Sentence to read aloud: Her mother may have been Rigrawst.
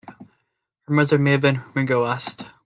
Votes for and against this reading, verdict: 1, 2, rejected